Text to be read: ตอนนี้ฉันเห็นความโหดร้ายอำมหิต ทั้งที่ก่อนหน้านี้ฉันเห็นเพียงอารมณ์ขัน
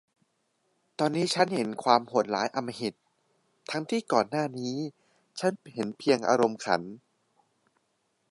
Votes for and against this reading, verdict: 2, 1, accepted